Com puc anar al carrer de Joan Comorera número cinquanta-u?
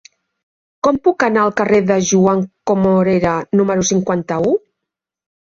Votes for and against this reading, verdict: 3, 1, accepted